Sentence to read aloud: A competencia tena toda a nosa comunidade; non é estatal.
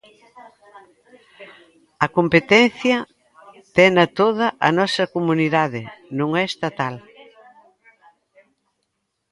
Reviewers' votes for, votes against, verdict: 0, 2, rejected